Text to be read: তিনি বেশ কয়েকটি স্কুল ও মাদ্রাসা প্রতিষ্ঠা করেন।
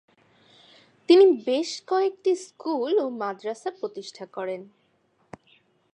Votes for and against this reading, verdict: 2, 0, accepted